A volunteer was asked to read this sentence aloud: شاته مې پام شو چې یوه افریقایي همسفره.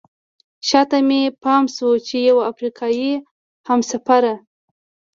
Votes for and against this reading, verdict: 2, 0, accepted